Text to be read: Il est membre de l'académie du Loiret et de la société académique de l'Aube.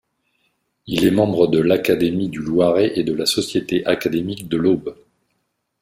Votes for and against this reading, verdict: 2, 0, accepted